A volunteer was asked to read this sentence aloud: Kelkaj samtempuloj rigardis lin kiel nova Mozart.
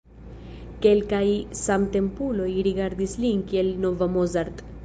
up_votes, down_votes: 0, 2